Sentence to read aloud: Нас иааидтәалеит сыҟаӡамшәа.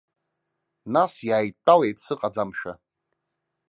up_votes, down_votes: 2, 0